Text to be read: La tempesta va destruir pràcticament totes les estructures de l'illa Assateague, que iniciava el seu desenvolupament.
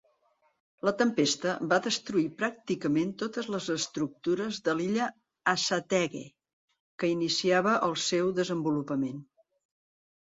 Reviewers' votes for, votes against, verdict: 2, 0, accepted